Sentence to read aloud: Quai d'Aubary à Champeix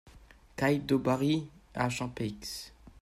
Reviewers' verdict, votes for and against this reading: rejected, 1, 2